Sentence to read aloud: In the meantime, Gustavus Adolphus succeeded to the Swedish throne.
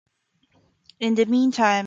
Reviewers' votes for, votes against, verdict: 0, 2, rejected